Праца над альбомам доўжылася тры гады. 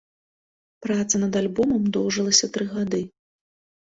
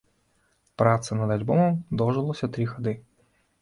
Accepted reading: first